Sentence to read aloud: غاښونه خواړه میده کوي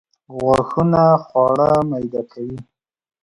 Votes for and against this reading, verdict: 2, 1, accepted